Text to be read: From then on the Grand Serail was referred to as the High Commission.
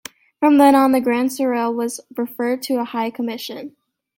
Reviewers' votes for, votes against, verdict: 0, 2, rejected